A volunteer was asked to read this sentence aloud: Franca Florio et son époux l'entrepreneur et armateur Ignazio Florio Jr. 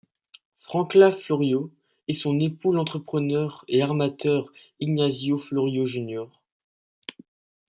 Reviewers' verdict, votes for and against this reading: rejected, 1, 2